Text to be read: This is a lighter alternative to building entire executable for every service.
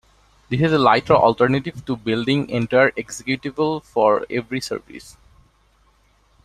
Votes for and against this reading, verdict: 1, 2, rejected